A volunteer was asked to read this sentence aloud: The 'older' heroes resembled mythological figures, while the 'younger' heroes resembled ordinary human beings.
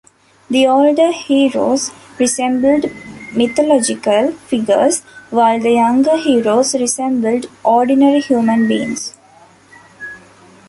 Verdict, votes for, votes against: accepted, 2, 0